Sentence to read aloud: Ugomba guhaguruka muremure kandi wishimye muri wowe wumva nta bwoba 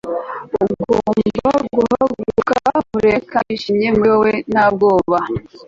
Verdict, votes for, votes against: rejected, 0, 2